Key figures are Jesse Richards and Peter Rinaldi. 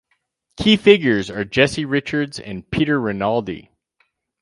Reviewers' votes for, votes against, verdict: 4, 0, accepted